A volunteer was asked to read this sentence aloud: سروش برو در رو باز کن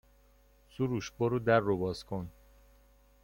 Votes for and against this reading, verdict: 2, 0, accepted